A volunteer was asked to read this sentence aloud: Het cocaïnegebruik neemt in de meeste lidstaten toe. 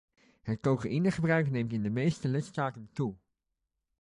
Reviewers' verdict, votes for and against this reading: accepted, 2, 0